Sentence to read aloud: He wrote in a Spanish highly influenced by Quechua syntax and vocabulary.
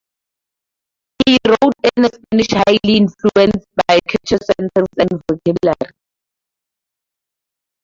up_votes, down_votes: 0, 2